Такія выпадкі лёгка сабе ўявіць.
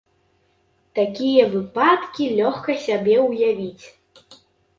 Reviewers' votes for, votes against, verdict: 3, 1, accepted